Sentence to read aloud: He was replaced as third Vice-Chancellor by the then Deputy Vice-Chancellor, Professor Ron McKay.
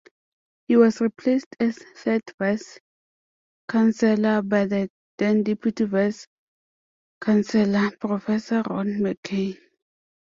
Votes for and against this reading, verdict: 0, 2, rejected